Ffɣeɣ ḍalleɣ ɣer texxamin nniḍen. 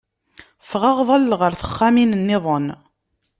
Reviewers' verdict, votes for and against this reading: accepted, 2, 0